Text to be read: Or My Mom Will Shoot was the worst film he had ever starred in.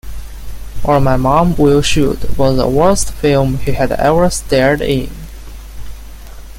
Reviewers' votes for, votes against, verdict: 0, 2, rejected